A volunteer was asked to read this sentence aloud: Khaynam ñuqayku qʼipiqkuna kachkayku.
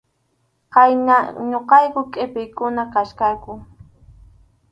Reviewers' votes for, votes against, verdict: 4, 0, accepted